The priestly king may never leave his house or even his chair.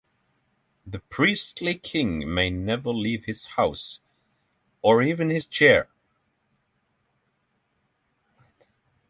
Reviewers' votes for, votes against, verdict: 6, 0, accepted